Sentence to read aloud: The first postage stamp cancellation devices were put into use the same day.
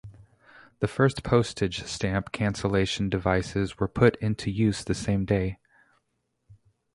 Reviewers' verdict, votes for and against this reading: rejected, 0, 2